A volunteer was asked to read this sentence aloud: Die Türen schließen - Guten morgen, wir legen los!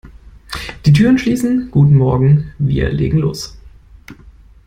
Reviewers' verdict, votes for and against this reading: accepted, 2, 0